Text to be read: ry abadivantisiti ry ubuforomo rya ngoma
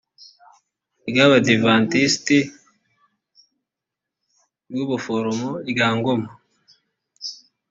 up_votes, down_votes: 0, 2